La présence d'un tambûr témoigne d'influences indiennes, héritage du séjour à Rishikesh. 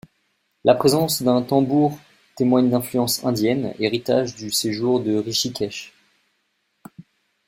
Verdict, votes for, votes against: rejected, 0, 2